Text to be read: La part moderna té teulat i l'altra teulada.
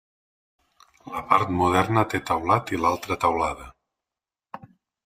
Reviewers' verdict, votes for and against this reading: accepted, 3, 0